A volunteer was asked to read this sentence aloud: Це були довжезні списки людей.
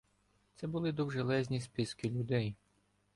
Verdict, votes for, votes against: accepted, 2, 1